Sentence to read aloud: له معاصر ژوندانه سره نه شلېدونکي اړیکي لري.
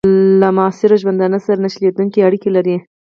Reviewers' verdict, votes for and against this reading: rejected, 0, 4